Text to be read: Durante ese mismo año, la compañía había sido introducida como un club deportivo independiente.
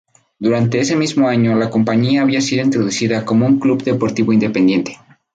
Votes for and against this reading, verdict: 2, 0, accepted